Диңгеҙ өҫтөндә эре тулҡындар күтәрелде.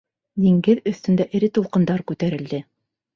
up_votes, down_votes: 2, 0